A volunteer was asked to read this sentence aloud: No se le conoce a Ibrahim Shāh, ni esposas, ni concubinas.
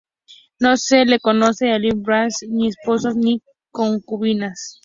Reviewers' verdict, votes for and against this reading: rejected, 0, 2